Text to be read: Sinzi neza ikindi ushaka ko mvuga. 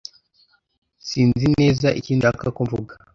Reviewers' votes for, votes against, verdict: 1, 2, rejected